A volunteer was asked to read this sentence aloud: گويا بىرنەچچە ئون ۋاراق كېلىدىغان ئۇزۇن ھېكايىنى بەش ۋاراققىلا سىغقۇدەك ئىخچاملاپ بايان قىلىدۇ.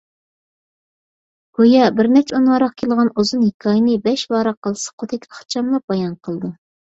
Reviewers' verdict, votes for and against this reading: rejected, 1, 2